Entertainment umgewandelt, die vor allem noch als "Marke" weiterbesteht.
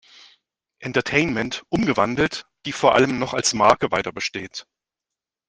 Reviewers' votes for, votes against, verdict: 2, 0, accepted